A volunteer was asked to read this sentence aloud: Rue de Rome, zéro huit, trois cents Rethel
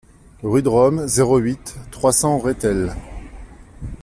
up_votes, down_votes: 2, 0